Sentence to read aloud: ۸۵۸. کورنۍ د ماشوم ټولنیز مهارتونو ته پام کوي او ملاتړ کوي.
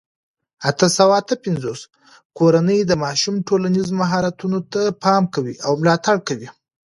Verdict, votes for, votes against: rejected, 0, 2